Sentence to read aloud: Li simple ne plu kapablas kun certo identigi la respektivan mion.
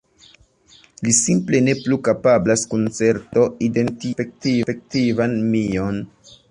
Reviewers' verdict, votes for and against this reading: rejected, 0, 2